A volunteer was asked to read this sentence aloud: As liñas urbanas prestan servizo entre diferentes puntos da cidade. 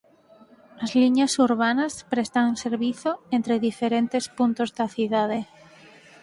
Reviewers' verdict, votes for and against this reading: rejected, 2, 4